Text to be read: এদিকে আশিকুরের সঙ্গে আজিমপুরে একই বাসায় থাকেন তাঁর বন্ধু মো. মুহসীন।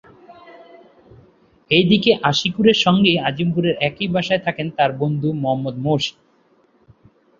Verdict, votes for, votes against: rejected, 1, 2